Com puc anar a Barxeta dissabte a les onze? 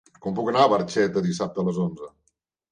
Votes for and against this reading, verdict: 3, 0, accepted